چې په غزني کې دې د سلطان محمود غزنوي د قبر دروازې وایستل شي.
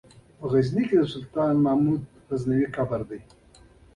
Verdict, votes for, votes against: rejected, 1, 2